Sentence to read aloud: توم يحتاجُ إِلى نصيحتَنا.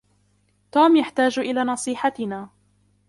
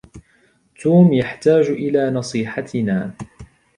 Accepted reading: second